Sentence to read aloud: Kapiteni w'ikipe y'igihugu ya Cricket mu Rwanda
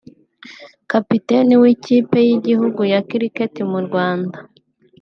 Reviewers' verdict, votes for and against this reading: accepted, 2, 1